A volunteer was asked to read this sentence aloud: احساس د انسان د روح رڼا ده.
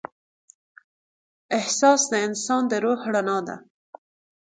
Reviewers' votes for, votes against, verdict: 2, 0, accepted